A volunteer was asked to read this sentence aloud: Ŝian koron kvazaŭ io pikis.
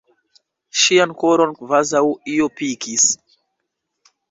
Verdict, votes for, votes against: rejected, 1, 2